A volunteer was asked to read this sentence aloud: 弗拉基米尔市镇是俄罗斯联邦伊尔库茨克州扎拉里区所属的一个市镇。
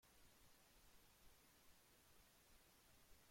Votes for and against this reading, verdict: 0, 2, rejected